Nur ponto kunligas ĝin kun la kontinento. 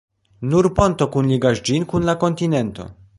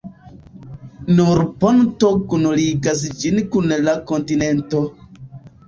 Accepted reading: second